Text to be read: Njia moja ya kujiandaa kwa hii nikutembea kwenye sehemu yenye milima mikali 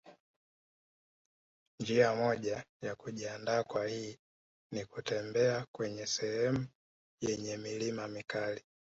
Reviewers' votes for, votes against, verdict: 2, 1, accepted